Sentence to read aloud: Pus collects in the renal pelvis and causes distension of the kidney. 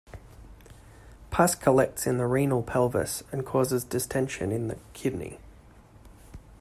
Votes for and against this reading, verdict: 1, 2, rejected